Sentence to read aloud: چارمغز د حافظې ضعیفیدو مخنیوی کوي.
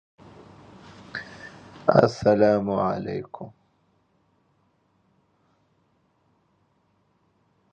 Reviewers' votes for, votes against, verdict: 0, 3, rejected